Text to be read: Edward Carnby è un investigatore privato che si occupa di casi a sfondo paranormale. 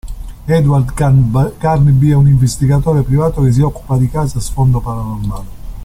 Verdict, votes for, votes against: rejected, 0, 2